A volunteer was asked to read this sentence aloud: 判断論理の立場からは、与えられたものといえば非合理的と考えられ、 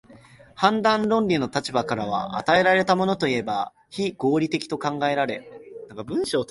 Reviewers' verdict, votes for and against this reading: rejected, 0, 2